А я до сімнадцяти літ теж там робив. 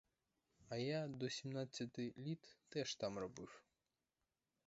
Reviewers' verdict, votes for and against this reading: rejected, 2, 2